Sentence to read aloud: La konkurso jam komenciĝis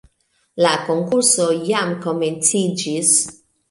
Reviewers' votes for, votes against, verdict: 2, 0, accepted